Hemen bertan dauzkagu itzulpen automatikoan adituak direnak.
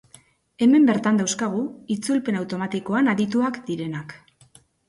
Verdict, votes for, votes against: accepted, 2, 0